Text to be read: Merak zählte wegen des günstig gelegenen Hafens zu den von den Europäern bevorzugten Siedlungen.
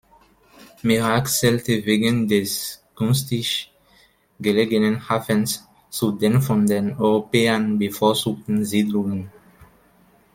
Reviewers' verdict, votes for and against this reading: accepted, 2, 0